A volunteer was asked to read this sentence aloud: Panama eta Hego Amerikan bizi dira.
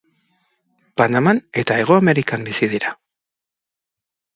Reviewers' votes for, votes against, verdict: 0, 2, rejected